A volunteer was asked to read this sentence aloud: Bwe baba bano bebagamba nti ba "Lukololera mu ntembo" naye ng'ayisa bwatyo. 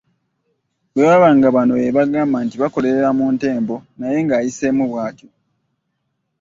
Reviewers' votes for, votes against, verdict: 1, 2, rejected